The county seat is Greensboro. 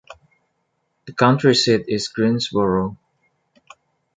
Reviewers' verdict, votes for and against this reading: rejected, 1, 2